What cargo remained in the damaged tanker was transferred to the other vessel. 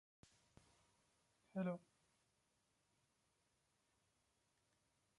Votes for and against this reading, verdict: 0, 2, rejected